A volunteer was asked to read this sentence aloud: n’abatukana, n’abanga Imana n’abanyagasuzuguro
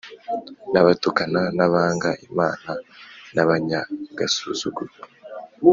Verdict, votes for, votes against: accepted, 2, 0